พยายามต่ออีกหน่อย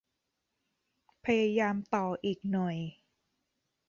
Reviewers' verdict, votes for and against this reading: accepted, 2, 0